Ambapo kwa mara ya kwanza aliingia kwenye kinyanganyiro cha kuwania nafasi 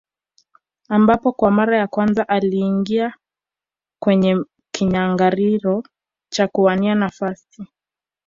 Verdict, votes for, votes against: rejected, 0, 2